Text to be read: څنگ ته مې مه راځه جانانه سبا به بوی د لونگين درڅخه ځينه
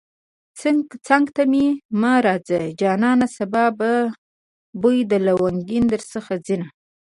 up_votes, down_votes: 1, 2